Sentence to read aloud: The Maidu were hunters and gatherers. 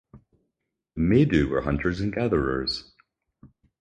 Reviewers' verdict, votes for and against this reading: rejected, 2, 4